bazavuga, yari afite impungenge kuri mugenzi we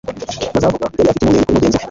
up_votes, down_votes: 1, 2